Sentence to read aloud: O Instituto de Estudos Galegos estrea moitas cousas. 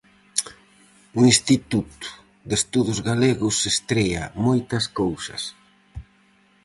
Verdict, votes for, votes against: rejected, 2, 2